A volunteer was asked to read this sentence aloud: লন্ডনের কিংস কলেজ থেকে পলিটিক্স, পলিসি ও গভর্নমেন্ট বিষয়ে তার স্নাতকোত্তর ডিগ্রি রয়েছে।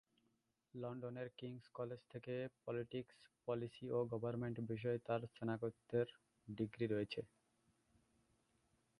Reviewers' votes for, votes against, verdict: 0, 2, rejected